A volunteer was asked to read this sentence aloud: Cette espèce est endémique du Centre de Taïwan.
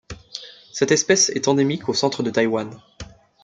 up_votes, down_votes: 1, 2